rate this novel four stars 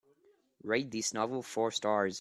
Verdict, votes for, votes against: accepted, 3, 0